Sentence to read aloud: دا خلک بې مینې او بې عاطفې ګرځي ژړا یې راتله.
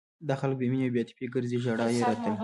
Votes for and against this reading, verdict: 1, 2, rejected